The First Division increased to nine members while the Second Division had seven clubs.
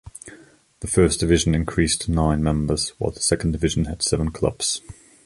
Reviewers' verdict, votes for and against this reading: accepted, 2, 0